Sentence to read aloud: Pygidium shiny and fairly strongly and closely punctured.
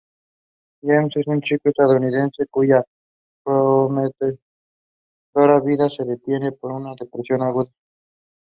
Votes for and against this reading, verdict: 1, 2, rejected